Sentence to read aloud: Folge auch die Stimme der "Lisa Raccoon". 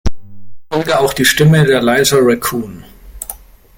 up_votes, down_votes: 2, 1